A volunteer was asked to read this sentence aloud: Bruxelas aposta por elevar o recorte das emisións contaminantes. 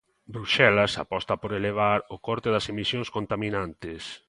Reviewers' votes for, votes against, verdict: 0, 3, rejected